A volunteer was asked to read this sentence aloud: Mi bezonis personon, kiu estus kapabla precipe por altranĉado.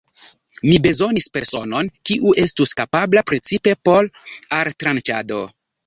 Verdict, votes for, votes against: rejected, 1, 2